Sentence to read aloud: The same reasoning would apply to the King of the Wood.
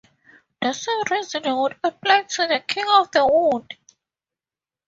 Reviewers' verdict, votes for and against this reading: accepted, 2, 0